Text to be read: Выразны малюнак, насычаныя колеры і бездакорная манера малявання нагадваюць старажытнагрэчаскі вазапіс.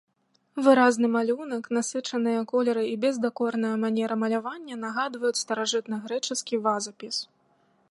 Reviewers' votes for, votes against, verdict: 2, 0, accepted